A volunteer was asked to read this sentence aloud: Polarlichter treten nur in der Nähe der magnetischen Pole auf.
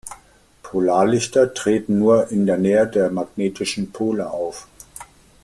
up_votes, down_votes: 2, 0